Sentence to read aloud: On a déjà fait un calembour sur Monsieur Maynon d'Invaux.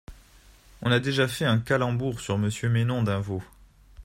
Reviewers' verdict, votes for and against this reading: accepted, 2, 0